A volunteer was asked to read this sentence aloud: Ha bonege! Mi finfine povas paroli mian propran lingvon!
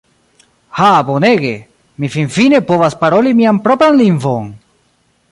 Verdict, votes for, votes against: rejected, 0, 2